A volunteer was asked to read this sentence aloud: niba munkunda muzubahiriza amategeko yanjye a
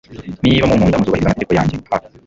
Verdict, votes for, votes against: rejected, 1, 2